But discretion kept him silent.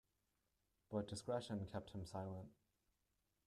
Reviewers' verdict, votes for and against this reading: rejected, 0, 3